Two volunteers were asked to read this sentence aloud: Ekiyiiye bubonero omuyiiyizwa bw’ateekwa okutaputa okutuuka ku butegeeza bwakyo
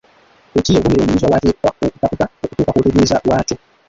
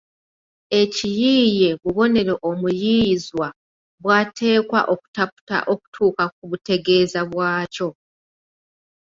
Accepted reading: second